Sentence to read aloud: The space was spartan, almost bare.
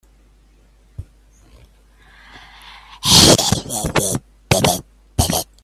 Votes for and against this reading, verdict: 0, 3, rejected